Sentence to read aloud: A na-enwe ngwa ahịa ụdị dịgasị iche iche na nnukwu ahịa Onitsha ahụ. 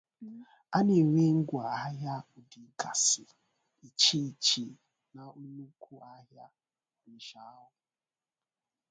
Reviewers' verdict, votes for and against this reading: rejected, 0, 2